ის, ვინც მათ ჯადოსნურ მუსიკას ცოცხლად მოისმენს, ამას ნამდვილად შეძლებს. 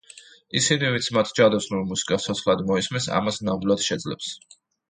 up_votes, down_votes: 2, 0